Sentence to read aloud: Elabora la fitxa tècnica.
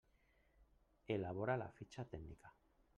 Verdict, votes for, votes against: rejected, 0, 2